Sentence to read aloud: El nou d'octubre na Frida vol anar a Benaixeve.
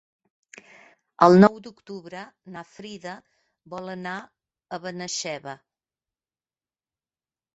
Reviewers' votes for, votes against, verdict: 1, 2, rejected